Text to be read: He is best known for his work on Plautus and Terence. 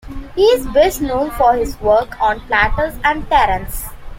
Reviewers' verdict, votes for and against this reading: accepted, 2, 0